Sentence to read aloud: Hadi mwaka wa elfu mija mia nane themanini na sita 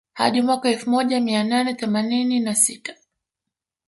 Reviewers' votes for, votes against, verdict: 2, 0, accepted